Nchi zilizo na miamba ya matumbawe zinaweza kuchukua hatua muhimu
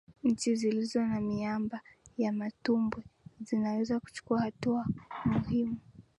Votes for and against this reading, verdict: 1, 2, rejected